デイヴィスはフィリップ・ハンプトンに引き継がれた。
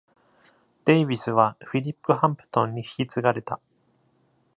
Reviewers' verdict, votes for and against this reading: accepted, 2, 0